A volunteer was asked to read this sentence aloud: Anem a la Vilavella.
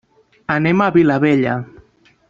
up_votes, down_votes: 1, 2